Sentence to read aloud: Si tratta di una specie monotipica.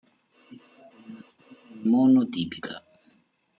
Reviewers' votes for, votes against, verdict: 0, 2, rejected